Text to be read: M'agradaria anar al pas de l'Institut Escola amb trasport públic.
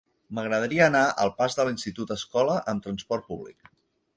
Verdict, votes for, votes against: accepted, 6, 0